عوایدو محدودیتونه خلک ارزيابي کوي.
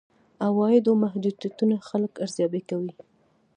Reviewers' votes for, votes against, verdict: 2, 0, accepted